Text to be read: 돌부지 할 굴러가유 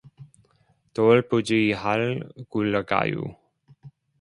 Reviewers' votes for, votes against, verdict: 2, 0, accepted